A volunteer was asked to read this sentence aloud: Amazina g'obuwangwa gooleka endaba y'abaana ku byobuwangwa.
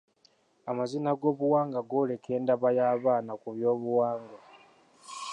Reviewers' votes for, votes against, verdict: 0, 2, rejected